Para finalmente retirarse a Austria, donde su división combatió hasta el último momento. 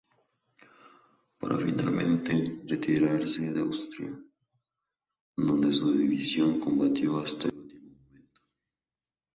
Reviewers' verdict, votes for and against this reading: rejected, 0, 4